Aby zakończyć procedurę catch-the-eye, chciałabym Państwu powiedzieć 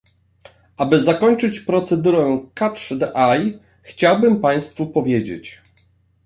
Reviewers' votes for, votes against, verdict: 0, 2, rejected